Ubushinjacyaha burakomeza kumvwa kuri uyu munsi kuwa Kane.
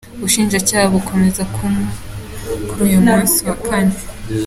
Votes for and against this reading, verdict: 0, 2, rejected